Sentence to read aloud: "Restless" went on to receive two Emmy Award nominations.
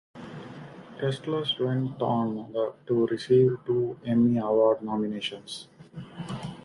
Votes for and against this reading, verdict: 2, 0, accepted